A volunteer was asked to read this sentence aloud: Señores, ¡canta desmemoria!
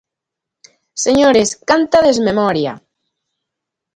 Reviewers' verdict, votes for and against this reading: accepted, 2, 0